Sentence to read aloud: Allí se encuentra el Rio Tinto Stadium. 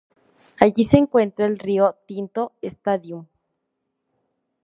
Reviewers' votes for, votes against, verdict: 2, 0, accepted